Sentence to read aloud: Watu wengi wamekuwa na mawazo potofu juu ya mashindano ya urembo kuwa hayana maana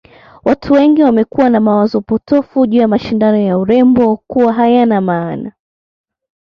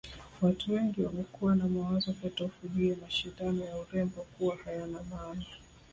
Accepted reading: second